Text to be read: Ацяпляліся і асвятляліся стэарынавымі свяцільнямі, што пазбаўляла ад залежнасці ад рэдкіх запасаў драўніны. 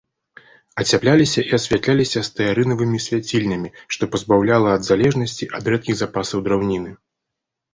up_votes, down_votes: 2, 0